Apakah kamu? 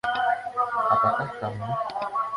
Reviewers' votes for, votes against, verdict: 0, 2, rejected